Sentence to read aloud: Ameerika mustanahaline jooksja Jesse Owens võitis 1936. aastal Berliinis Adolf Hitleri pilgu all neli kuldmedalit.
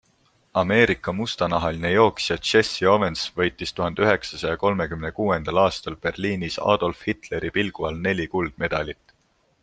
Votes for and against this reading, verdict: 0, 2, rejected